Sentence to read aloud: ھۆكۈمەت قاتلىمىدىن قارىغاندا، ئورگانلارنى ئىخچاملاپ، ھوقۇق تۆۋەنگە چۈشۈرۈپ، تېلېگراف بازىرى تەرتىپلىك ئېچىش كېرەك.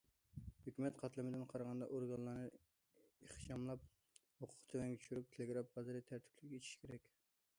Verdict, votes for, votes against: accepted, 2, 0